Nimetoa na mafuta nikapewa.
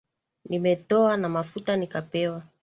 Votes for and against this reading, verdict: 2, 0, accepted